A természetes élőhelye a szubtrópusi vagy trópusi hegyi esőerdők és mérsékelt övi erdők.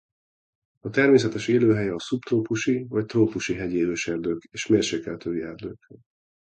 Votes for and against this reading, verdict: 0, 2, rejected